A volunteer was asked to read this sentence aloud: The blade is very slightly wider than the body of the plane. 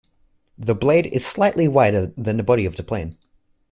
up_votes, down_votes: 1, 2